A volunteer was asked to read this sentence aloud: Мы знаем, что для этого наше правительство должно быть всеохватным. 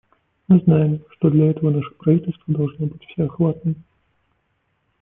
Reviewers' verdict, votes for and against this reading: accepted, 2, 0